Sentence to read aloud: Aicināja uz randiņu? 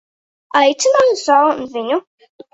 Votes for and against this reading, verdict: 1, 2, rejected